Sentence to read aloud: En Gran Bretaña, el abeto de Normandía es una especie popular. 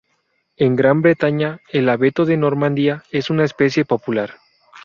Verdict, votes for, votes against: rejected, 0, 2